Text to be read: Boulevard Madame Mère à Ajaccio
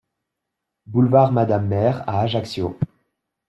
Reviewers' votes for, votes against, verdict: 2, 0, accepted